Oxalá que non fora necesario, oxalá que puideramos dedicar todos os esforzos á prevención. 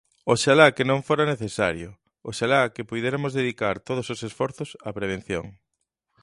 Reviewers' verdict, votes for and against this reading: rejected, 0, 2